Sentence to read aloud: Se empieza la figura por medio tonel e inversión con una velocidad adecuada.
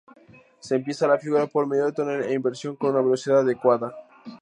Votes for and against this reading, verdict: 2, 0, accepted